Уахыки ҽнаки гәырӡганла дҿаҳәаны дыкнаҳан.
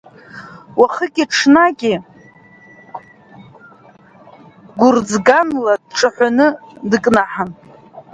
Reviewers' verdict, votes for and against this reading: rejected, 0, 2